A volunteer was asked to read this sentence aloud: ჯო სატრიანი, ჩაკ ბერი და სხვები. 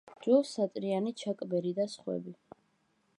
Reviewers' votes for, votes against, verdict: 2, 0, accepted